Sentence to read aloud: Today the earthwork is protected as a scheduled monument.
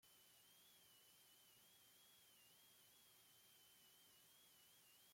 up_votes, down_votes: 0, 2